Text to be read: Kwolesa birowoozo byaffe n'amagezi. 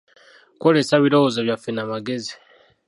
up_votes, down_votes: 1, 2